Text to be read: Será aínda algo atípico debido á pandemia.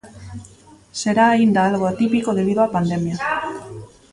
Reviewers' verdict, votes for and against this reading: rejected, 1, 2